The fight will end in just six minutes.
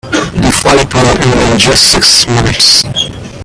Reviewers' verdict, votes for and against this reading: rejected, 0, 2